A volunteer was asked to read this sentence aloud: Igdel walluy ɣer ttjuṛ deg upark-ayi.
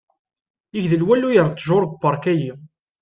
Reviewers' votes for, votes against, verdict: 2, 0, accepted